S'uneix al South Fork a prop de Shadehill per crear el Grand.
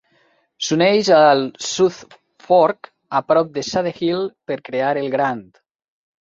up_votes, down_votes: 2, 1